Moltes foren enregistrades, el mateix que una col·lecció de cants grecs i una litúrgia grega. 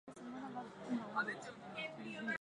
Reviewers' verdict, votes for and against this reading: rejected, 0, 4